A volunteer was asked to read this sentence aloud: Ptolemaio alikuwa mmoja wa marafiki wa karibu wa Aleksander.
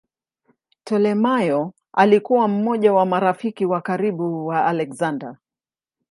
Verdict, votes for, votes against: accepted, 2, 0